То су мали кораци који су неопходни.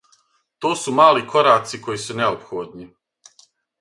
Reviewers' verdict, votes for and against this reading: accepted, 6, 0